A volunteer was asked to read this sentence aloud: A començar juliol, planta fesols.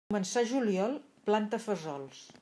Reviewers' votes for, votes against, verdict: 0, 2, rejected